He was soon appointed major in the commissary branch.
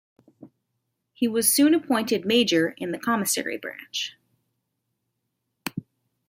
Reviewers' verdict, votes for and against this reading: rejected, 1, 2